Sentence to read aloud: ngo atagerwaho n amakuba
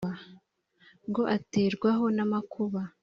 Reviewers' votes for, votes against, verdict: 3, 0, accepted